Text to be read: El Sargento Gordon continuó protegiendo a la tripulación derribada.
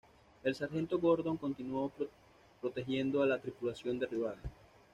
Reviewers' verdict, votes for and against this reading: rejected, 1, 2